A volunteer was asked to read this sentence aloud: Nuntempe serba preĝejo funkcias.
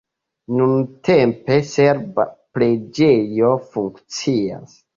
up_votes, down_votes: 1, 2